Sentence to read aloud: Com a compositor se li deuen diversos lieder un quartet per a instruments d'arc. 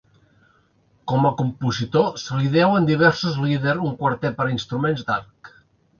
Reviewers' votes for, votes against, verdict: 2, 0, accepted